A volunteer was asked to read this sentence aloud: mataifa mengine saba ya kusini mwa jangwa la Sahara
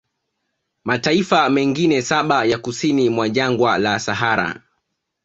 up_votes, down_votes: 2, 0